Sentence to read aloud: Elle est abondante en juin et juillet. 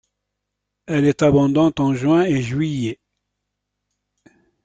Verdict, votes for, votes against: accepted, 2, 1